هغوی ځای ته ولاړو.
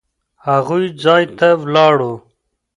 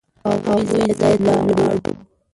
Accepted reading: first